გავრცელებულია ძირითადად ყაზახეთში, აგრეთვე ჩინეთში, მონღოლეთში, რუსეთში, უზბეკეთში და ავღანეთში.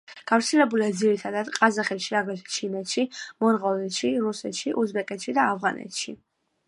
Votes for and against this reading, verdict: 2, 0, accepted